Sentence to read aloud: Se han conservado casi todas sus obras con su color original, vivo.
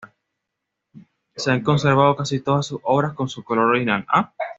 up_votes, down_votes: 1, 2